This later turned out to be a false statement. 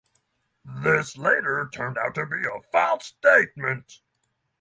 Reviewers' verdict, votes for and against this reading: accepted, 6, 0